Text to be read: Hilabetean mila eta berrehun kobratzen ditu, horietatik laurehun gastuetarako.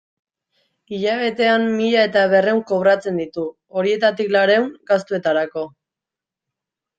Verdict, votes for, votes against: accepted, 2, 0